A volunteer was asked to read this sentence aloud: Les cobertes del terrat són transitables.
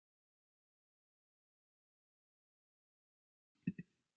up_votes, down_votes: 0, 2